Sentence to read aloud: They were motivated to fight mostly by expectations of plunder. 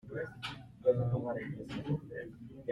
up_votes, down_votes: 0, 2